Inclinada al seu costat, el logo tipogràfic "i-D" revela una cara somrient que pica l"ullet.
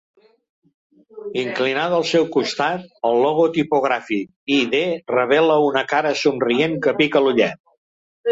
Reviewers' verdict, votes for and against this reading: rejected, 0, 2